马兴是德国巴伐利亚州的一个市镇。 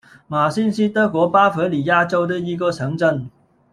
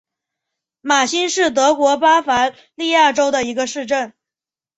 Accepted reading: second